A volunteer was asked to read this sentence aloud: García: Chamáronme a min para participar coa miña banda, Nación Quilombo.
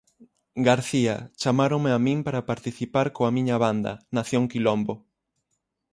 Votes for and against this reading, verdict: 6, 0, accepted